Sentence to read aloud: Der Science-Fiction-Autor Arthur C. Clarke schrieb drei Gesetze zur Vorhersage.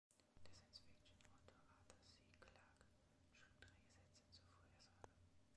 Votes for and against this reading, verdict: 1, 2, rejected